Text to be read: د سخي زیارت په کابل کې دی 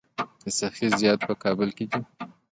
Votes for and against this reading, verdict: 2, 0, accepted